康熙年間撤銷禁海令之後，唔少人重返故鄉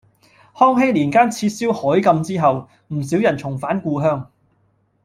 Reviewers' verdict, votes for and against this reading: rejected, 1, 2